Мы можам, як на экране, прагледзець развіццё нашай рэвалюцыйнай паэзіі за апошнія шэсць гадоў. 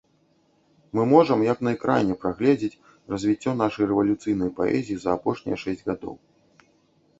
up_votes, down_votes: 2, 0